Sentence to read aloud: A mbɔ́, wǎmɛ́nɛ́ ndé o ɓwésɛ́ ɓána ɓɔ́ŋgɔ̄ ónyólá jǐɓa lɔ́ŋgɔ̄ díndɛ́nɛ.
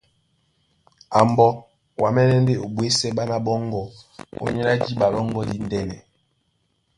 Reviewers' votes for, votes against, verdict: 3, 0, accepted